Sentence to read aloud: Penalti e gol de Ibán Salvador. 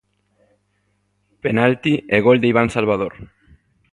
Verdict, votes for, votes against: accepted, 2, 0